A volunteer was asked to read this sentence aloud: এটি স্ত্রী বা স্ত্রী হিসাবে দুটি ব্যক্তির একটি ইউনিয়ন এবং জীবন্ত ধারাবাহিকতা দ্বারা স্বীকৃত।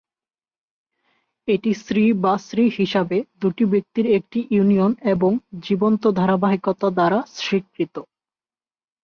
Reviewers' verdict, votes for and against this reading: rejected, 0, 2